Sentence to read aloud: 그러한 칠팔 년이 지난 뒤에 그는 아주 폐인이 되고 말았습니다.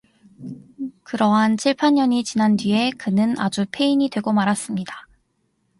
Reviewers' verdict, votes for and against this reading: accepted, 2, 0